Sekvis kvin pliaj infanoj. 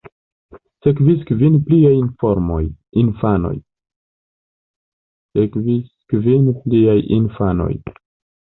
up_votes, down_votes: 0, 2